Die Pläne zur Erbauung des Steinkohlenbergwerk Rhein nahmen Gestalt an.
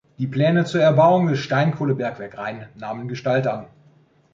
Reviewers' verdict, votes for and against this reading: accepted, 2, 0